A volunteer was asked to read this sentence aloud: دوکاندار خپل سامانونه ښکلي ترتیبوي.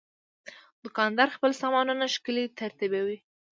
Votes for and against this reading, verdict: 2, 0, accepted